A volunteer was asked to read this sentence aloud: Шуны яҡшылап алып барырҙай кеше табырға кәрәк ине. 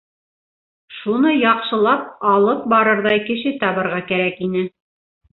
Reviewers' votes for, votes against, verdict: 2, 0, accepted